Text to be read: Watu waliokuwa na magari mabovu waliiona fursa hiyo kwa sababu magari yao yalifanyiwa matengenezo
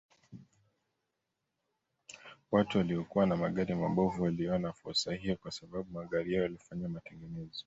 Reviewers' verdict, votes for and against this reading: accepted, 2, 0